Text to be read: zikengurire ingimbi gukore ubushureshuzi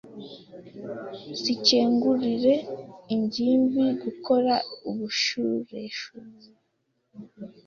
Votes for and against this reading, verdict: 1, 2, rejected